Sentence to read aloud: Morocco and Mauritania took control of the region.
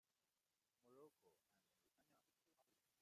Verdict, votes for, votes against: rejected, 0, 2